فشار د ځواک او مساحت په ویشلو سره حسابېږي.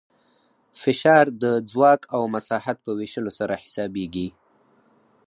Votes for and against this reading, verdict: 4, 2, accepted